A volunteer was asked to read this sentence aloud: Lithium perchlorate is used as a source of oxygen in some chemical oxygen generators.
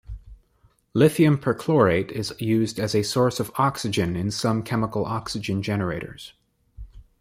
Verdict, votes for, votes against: accepted, 2, 0